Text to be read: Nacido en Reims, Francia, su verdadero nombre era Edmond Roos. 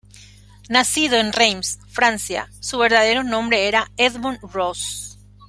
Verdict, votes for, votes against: accepted, 2, 0